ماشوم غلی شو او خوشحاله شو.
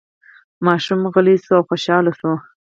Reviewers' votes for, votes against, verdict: 2, 4, rejected